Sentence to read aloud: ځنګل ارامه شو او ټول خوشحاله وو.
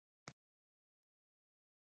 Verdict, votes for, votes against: rejected, 0, 2